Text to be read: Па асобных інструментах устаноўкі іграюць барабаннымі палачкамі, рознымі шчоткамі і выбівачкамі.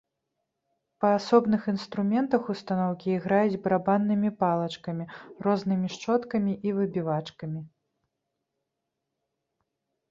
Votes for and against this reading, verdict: 2, 0, accepted